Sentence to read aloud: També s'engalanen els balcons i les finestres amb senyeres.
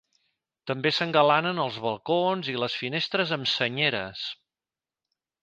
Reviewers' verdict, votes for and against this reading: accepted, 2, 0